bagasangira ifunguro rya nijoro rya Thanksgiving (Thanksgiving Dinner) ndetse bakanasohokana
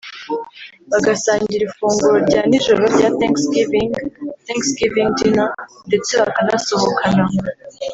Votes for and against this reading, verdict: 2, 0, accepted